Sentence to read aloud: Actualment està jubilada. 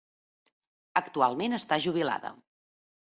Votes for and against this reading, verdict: 2, 0, accepted